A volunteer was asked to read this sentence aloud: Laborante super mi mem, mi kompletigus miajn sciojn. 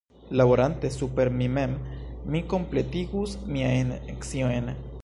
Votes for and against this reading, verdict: 1, 2, rejected